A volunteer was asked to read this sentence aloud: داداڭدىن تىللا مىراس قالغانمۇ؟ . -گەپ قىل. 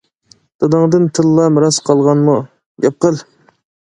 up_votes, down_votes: 2, 0